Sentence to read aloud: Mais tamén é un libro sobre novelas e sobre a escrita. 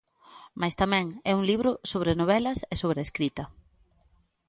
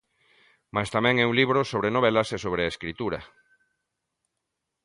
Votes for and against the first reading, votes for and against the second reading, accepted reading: 2, 0, 0, 2, first